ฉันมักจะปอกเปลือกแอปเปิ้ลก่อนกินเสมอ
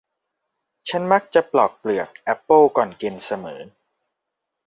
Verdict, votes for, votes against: rejected, 1, 2